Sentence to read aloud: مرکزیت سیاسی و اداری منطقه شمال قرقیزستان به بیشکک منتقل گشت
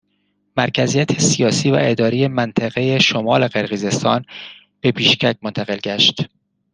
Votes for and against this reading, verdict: 1, 2, rejected